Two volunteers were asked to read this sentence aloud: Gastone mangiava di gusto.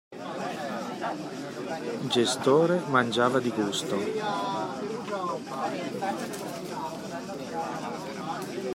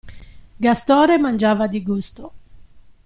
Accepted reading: second